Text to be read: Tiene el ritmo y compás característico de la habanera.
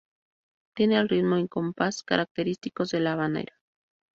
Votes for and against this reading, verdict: 0, 2, rejected